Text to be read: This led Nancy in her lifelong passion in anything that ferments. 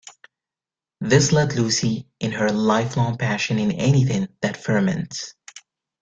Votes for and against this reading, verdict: 1, 2, rejected